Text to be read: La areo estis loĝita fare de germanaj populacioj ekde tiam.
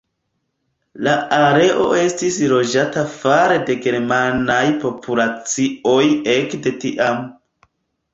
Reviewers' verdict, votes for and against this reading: rejected, 0, 2